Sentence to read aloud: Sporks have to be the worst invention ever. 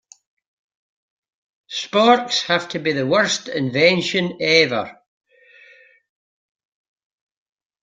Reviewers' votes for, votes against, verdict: 2, 0, accepted